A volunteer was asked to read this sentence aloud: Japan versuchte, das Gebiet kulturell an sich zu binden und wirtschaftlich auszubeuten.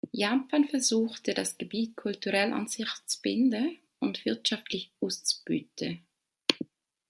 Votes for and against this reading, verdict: 2, 0, accepted